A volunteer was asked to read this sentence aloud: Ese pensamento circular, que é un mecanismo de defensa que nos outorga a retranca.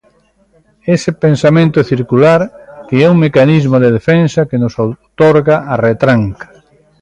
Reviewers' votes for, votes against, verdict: 1, 2, rejected